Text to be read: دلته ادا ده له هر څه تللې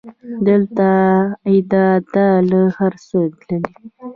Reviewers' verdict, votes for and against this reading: accepted, 2, 0